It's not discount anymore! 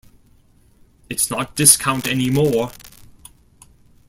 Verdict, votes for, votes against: accepted, 2, 0